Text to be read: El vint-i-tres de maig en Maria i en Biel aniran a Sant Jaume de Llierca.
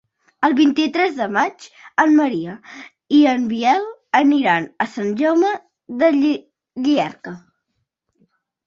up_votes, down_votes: 0, 2